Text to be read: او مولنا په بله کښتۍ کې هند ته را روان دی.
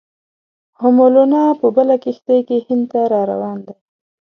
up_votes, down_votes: 3, 0